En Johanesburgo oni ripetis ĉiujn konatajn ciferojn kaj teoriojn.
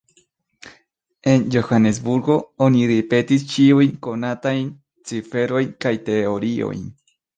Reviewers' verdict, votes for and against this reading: rejected, 0, 2